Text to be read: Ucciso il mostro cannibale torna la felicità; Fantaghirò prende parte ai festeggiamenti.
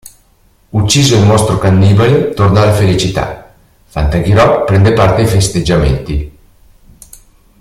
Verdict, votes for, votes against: accepted, 2, 0